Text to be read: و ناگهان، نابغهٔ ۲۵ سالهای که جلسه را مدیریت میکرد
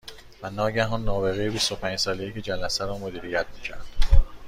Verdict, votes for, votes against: rejected, 0, 2